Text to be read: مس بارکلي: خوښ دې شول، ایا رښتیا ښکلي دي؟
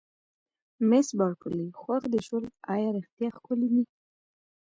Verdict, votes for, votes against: accepted, 2, 0